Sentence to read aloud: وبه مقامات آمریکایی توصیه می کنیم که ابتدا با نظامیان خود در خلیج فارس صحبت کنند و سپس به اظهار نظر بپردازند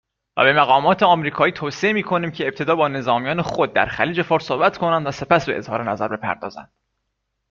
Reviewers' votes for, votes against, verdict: 2, 0, accepted